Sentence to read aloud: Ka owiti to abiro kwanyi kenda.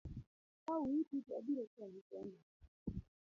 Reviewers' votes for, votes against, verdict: 1, 2, rejected